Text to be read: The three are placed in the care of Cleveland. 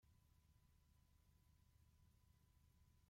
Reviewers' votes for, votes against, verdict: 0, 2, rejected